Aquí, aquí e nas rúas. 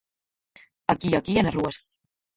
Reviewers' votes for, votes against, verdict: 2, 4, rejected